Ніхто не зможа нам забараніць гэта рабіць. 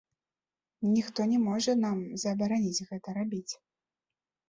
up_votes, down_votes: 0, 2